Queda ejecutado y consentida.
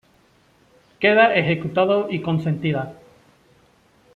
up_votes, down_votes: 2, 0